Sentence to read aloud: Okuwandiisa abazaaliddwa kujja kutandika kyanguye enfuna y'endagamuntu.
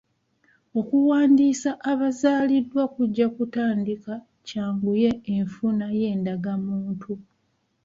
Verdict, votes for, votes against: accepted, 2, 0